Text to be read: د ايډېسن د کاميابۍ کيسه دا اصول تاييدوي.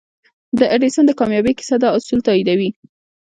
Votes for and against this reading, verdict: 2, 1, accepted